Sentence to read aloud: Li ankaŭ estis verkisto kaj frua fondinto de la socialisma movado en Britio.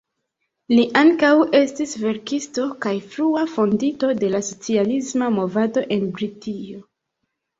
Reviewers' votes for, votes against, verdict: 2, 0, accepted